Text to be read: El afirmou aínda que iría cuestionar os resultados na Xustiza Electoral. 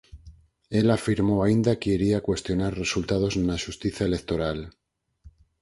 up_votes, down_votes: 4, 2